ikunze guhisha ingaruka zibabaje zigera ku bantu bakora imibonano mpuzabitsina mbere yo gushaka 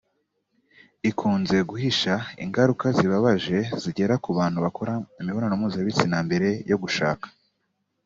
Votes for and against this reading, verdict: 2, 0, accepted